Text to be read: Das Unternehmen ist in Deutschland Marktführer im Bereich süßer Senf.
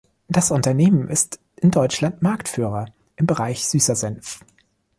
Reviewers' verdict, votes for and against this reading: accepted, 2, 0